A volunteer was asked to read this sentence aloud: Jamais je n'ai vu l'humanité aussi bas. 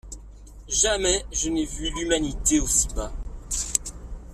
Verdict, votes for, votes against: rejected, 1, 2